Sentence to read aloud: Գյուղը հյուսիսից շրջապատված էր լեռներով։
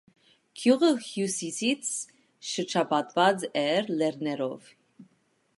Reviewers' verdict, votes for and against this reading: accepted, 2, 0